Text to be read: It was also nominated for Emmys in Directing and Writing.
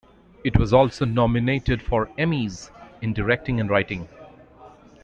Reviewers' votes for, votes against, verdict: 2, 0, accepted